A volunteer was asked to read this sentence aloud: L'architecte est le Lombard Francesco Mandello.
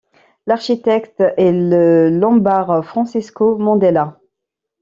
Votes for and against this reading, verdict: 1, 2, rejected